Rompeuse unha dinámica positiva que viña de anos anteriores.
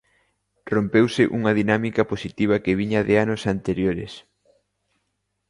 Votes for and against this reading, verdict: 2, 0, accepted